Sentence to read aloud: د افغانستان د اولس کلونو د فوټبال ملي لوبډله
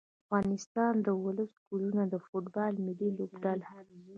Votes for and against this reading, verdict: 1, 2, rejected